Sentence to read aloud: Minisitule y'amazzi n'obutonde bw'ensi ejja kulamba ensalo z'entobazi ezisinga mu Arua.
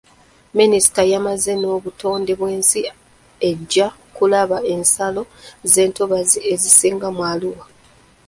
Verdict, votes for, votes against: rejected, 1, 2